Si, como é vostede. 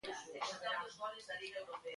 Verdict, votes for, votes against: rejected, 0, 2